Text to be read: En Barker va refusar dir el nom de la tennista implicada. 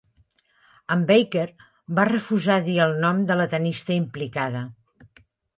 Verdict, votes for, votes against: accepted, 2, 0